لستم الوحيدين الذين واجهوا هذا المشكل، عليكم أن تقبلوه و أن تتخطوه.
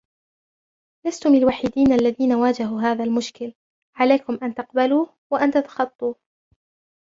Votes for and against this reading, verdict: 2, 0, accepted